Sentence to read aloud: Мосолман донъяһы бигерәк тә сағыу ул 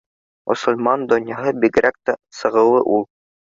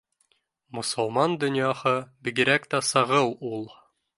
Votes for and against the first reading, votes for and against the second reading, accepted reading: 0, 2, 3, 0, second